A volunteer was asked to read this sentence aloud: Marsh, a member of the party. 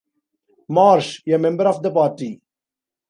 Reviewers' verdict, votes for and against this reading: accepted, 2, 0